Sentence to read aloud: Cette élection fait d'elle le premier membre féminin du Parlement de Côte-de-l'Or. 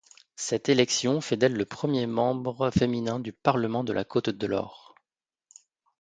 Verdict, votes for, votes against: rejected, 1, 2